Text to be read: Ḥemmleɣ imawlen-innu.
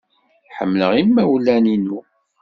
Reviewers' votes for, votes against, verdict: 2, 0, accepted